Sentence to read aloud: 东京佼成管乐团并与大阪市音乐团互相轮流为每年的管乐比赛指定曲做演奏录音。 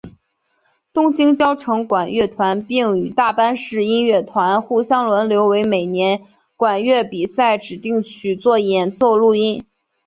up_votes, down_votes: 3, 1